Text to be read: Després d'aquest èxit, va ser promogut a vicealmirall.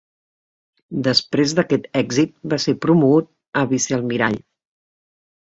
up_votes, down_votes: 3, 0